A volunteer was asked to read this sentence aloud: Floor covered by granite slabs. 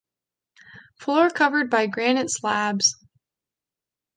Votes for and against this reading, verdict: 2, 0, accepted